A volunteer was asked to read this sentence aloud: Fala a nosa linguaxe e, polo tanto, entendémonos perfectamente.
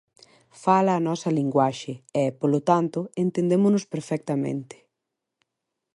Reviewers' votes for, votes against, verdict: 2, 0, accepted